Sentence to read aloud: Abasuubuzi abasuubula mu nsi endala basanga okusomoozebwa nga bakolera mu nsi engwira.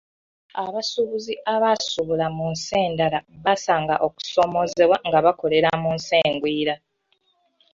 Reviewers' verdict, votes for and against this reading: accepted, 2, 0